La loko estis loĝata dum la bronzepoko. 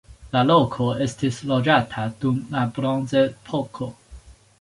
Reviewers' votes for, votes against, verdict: 2, 1, accepted